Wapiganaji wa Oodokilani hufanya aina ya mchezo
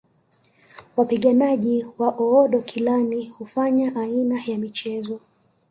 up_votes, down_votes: 4, 1